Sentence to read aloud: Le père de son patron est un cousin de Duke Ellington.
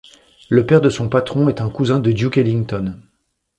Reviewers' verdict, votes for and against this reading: accepted, 2, 0